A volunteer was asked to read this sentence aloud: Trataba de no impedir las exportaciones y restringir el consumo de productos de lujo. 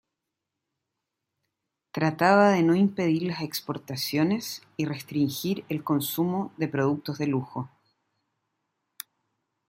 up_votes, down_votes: 2, 0